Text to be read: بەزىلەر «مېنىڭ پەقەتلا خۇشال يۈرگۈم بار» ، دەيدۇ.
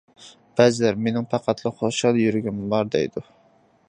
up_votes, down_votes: 2, 1